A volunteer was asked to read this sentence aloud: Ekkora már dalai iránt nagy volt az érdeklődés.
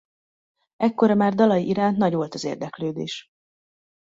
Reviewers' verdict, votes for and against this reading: accepted, 2, 0